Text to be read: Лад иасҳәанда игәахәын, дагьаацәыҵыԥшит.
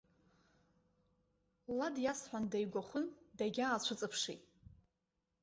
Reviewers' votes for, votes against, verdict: 2, 1, accepted